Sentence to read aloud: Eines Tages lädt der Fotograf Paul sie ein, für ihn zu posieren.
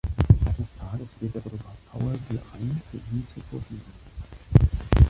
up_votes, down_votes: 0, 2